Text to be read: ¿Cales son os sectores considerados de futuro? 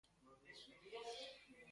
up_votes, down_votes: 0, 2